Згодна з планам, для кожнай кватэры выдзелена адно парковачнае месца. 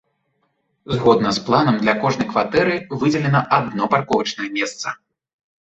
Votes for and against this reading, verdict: 2, 0, accepted